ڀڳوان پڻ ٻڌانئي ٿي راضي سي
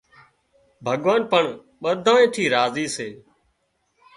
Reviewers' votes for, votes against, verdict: 3, 0, accepted